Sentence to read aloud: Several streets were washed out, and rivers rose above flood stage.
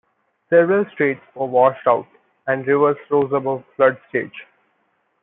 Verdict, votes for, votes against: rejected, 0, 2